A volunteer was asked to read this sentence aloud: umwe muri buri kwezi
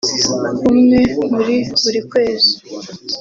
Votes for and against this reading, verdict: 2, 0, accepted